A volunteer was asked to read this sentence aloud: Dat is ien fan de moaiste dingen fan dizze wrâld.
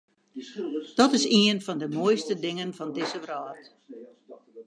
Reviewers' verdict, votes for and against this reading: rejected, 0, 2